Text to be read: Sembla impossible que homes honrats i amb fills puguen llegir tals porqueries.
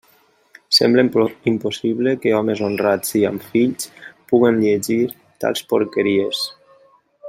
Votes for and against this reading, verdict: 0, 2, rejected